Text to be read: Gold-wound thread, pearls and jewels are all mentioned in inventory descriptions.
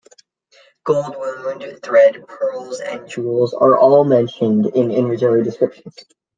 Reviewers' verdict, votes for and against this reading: rejected, 1, 2